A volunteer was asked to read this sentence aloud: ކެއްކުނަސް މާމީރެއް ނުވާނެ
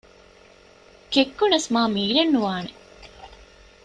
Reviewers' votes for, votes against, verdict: 2, 0, accepted